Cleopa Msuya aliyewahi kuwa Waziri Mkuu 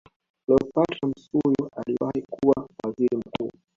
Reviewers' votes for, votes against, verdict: 0, 2, rejected